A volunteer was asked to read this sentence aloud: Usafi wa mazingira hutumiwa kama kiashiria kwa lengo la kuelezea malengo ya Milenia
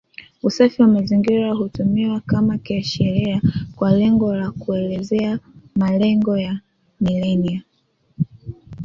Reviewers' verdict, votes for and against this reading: accepted, 2, 1